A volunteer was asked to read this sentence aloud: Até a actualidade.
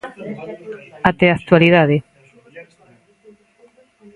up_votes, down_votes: 2, 0